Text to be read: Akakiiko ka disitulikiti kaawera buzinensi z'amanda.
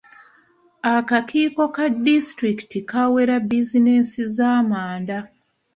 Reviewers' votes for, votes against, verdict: 0, 2, rejected